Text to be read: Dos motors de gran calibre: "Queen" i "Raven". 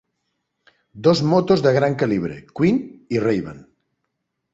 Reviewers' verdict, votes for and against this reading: rejected, 1, 2